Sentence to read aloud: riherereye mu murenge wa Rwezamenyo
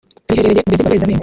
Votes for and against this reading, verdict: 1, 2, rejected